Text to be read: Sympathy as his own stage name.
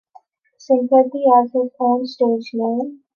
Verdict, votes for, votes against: accepted, 2, 1